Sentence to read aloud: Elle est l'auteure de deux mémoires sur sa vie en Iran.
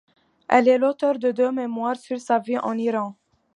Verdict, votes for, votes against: accepted, 2, 0